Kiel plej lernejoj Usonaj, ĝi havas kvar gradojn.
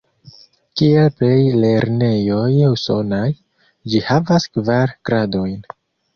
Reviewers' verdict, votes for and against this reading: rejected, 0, 2